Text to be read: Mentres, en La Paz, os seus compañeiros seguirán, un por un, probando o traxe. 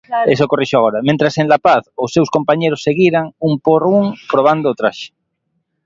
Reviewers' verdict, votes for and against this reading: rejected, 1, 2